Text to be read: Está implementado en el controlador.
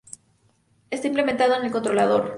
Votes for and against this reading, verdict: 2, 0, accepted